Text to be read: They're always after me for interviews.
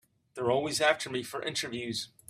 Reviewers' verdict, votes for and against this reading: accepted, 2, 0